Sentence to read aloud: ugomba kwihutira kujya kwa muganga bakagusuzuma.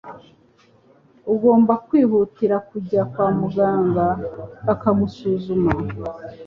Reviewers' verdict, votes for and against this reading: accepted, 2, 0